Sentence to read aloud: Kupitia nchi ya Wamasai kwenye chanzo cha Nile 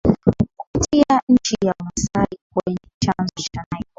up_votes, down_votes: 2, 0